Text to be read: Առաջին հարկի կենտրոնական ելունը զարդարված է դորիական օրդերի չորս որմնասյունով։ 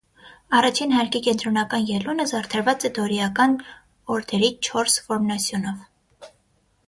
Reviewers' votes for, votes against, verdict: 6, 0, accepted